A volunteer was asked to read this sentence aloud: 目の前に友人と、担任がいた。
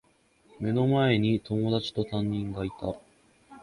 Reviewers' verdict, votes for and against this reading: rejected, 1, 3